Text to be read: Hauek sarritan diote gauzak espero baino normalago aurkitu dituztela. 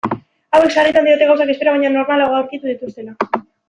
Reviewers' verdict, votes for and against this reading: rejected, 0, 2